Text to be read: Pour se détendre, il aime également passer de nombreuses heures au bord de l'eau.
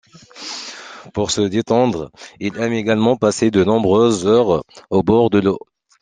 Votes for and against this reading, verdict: 1, 2, rejected